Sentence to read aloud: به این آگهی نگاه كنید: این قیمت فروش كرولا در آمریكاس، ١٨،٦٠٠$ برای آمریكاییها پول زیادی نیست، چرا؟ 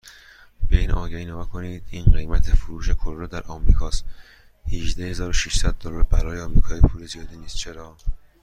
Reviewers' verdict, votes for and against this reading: rejected, 0, 2